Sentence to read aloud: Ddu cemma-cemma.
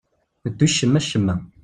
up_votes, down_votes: 2, 0